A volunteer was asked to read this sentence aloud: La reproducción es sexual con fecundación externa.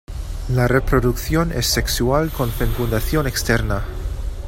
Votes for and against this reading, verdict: 1, 2, rejected